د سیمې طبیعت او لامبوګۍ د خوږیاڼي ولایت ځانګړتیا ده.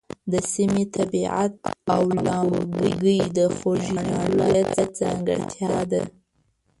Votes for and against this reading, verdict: 1, 2, rejected